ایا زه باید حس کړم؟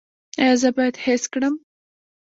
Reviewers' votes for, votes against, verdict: 1, 2, rejected